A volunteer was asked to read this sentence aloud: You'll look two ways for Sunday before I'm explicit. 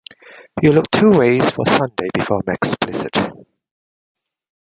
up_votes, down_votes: 2, 0